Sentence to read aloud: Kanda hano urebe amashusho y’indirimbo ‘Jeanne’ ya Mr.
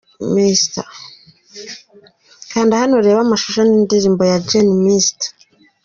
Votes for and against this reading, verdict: 3, 1, accepted